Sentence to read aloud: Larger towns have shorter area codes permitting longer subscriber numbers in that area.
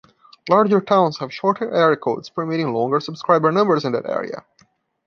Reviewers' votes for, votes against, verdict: 2, 0, accepted